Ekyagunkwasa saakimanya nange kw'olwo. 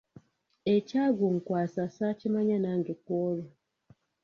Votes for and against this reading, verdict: 1, 2, rejected